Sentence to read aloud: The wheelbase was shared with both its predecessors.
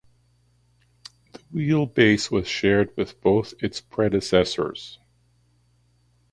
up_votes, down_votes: 1, 2